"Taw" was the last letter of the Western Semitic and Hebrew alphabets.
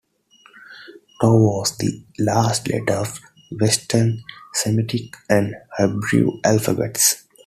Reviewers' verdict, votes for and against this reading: accepted, 2, 1